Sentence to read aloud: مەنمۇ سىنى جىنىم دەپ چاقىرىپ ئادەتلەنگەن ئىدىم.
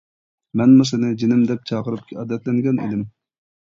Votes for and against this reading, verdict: 1, 2, rejected